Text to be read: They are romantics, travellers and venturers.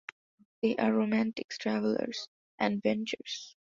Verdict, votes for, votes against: rejected, 1, 2